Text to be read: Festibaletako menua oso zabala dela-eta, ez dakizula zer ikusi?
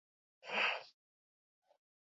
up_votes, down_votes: 0, 4